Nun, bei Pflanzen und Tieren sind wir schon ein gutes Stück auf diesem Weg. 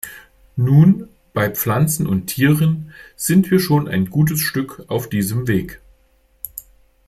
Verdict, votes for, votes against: accepted, 2, 0